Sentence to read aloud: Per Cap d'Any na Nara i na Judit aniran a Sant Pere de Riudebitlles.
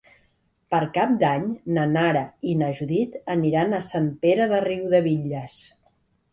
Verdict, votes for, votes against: accepted, 2, 0